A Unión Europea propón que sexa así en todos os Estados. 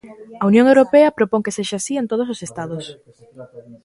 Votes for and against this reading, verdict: 2, 0, accepted